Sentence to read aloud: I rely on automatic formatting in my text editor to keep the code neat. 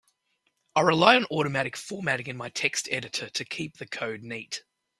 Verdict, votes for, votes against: accepted, 2, 0